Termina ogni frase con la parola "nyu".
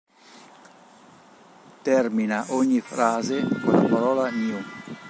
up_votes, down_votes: 1, 2